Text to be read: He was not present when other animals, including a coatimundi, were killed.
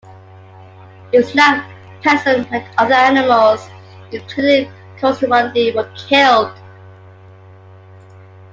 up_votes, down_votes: 0, 2